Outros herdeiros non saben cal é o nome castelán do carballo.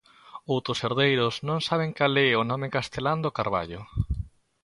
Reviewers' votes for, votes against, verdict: 2, 0, accepted